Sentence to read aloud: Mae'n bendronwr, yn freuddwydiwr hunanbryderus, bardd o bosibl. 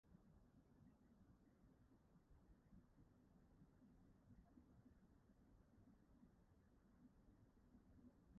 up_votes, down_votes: 0, 2